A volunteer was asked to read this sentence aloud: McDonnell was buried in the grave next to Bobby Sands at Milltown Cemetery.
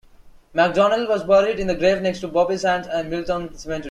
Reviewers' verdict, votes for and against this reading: rejected, 1, 2